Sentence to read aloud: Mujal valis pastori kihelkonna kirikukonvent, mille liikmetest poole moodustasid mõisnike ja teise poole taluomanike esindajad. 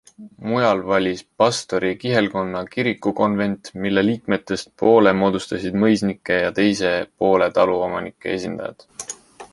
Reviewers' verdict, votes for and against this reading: accepted, 2, 1